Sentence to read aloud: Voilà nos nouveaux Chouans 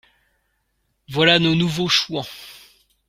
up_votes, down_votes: 2, 1